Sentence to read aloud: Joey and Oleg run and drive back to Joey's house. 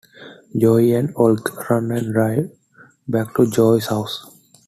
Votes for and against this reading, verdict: 2, 0, accepted